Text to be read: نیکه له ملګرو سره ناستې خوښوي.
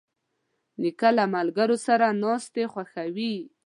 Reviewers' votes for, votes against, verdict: 2, 0, accepted